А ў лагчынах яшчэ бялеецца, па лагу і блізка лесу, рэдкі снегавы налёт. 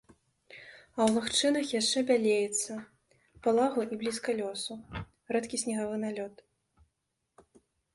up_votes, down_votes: 0, 2